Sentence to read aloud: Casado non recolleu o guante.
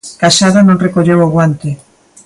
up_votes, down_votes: 2, 0